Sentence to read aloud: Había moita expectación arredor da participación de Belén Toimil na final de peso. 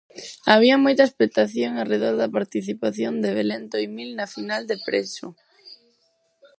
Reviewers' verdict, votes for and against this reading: rejected, 2, 2